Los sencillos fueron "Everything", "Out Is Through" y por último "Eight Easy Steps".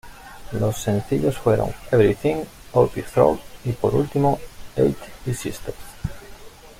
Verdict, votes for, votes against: accepted, 2, 1